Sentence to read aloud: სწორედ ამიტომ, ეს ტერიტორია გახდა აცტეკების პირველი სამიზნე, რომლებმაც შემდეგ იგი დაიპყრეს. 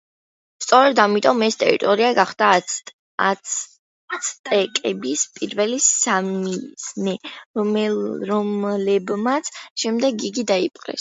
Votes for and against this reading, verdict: 0, 2, rejected